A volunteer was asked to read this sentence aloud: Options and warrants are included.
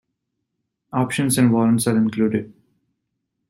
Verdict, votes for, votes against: accepted, 2, 0